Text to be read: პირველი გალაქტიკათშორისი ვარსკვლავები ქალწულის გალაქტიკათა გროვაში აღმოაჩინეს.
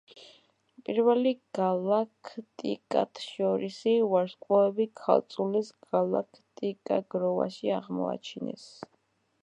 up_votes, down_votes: 1, 2